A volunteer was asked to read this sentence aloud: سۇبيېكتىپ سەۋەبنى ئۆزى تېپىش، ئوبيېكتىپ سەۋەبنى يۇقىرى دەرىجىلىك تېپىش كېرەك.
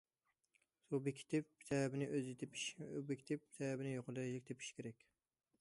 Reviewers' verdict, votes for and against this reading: accepted, 2, 0